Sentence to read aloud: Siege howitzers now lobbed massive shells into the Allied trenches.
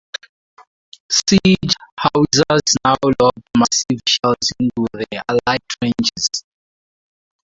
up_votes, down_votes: 2, 0